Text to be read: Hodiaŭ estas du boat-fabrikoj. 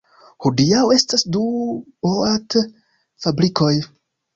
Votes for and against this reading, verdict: 2, 0, accepted